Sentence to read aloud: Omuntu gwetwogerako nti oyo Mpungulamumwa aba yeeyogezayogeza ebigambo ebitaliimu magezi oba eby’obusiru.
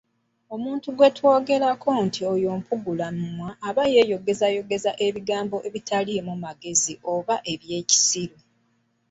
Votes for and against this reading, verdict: 0, 2, rejected